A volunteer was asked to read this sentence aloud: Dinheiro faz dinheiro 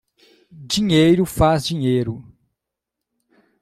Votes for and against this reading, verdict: 2, 0, accepted